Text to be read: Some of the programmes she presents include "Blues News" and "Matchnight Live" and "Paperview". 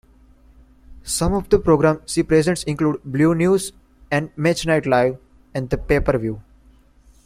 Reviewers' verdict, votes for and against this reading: rejected, 0, 2